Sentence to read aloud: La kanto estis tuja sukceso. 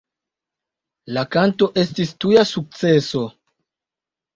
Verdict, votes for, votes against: accepted, 3, 0